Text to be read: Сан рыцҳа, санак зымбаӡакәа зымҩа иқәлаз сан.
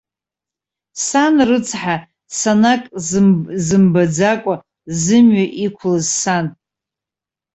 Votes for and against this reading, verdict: 0, 2, rejected